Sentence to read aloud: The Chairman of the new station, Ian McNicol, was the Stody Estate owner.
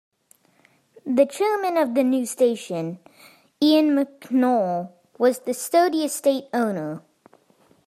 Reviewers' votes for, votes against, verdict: 2, 1, accepted